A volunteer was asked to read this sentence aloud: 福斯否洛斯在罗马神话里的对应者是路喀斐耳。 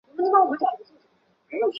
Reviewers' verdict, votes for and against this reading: rejected, 0, 2